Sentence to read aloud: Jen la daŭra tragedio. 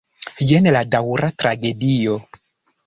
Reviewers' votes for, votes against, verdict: 2, 0, accepted